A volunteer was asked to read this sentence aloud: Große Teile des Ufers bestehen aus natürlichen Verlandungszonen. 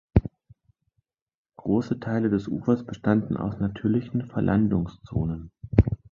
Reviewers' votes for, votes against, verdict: 0, 2, rejected